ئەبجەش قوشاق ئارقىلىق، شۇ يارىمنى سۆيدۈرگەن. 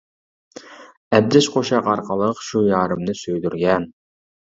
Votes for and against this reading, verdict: 2, 0, accepted